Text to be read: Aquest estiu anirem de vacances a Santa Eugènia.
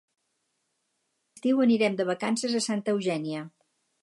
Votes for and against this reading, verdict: 0, 2, rejected